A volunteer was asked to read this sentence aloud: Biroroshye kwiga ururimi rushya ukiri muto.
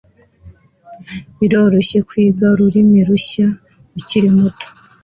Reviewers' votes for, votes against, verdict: 2, 0, accepted